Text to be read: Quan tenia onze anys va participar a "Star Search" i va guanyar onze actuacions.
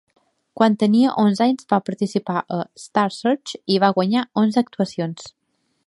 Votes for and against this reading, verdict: 2, 0, accepted